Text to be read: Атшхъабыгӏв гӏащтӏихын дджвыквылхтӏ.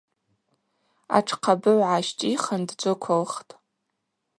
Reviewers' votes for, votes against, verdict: 2, 2, rejected